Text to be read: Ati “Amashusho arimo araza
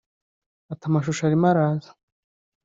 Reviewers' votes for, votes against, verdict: 2, 0, accepted